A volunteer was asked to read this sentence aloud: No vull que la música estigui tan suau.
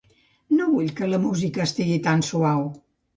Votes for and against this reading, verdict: 2, 0, accepted